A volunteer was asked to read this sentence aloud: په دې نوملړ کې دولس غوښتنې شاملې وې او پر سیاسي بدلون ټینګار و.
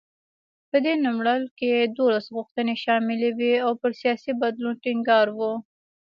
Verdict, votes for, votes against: accepted, 2, 0